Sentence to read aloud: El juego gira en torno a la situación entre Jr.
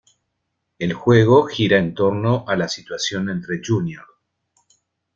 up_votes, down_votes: 1, 2